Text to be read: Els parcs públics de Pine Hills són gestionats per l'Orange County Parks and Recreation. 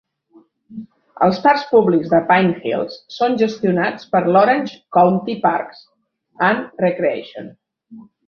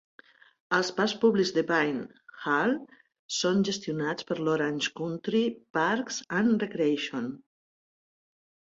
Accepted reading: first